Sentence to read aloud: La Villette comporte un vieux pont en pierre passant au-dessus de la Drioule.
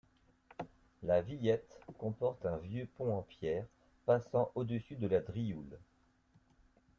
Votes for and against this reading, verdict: 2, 0, accepted